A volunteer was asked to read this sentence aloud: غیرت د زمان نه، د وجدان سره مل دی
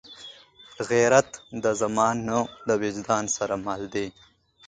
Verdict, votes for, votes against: accepted, 3, 2